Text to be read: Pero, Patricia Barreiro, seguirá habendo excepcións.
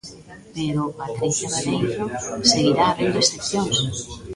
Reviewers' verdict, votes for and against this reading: accepted, 2, 1